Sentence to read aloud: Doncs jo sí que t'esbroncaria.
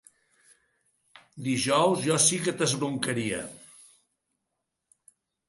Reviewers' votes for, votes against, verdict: 0, 3, rejected